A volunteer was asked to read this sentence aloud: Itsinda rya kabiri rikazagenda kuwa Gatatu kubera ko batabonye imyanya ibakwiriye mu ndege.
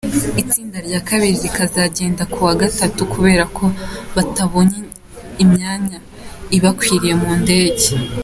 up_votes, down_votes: 2, 0